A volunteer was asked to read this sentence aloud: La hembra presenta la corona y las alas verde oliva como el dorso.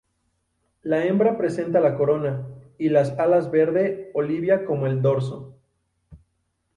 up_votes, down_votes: 0, 2